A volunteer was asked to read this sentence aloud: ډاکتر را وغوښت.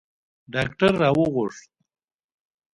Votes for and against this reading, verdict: 0, 2, rejected